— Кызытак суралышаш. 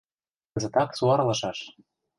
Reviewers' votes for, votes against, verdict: 1, 2, rejected